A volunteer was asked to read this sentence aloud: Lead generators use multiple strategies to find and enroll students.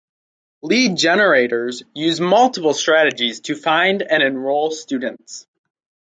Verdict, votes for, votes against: accepted, 4, 0